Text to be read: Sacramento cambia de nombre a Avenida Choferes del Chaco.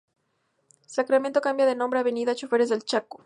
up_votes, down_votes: 4, 0